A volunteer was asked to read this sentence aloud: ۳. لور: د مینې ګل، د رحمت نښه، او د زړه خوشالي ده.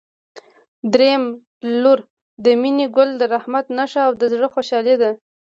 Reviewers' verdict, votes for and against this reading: rejected, 0, 2